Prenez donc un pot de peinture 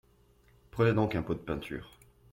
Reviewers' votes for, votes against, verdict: 2, 1, accepted